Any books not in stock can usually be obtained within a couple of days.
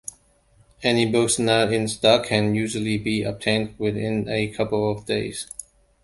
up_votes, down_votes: 2, 0